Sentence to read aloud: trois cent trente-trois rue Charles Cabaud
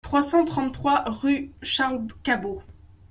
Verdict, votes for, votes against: rejected, 1, 2